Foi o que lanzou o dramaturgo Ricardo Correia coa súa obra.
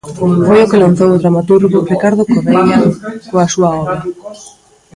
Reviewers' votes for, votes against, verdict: 0, 2, rejected